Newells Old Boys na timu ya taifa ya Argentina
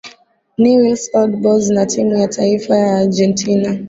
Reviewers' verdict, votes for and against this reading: accepted, 6, 0